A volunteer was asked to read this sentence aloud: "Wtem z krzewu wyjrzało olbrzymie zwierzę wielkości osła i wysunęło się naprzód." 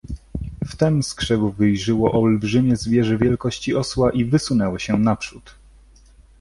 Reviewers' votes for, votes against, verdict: 0, 2, rejected